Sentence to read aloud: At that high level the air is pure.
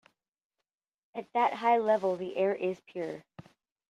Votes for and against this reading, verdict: 2, 0, accepted